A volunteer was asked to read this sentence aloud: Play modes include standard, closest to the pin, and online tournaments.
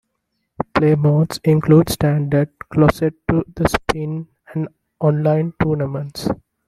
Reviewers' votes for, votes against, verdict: 0, 3, rejected